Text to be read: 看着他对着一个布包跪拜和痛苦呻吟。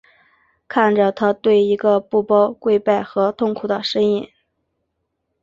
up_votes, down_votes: 2, 0